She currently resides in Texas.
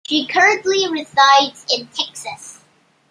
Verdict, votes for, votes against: rejected, 1, 2